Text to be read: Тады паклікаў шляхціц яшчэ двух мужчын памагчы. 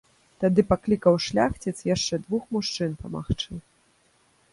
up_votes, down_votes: 2, 0